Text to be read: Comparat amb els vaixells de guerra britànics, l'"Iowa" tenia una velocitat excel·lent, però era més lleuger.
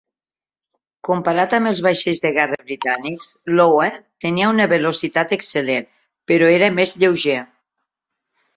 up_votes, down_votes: 2, 0